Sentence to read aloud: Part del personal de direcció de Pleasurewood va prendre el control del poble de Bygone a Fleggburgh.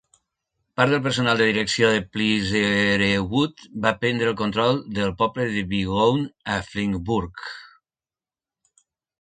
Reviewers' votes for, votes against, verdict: 0, 2, rejected